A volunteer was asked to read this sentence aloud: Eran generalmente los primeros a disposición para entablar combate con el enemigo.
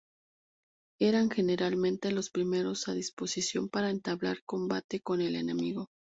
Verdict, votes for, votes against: accepted, 2, 0